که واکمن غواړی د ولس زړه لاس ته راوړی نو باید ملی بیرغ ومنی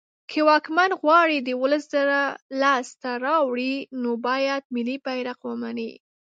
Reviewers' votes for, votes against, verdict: 0, 2, rejected